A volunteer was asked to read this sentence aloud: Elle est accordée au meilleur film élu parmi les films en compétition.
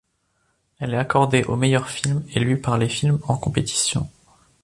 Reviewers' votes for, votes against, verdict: 0, 2, rejected